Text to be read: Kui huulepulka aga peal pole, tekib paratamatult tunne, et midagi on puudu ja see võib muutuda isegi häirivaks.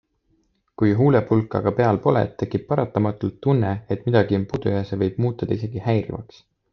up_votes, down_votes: 2, 1